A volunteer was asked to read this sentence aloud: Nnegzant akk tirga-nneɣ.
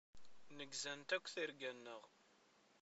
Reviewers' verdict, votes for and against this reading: rejected, 1, 2